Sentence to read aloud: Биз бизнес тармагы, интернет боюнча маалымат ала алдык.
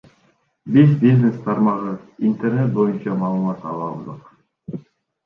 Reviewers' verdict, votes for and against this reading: rejected, 1, 2